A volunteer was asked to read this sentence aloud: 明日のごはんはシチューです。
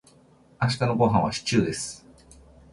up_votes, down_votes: 3, 1